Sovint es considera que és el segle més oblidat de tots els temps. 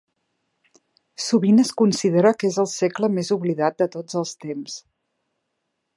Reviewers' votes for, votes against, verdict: 4, 0, accepted